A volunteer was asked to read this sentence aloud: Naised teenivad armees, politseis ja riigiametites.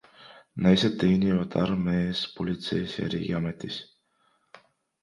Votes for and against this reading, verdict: 0, 2, rejected